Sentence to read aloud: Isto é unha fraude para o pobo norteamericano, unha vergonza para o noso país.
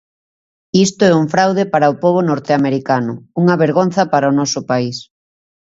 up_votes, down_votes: 1, 2